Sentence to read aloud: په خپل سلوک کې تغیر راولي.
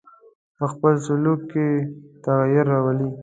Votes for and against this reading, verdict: 2, 0, accepted